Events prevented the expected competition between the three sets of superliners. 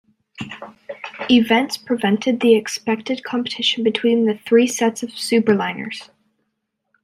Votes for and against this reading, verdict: 2, 0, accepted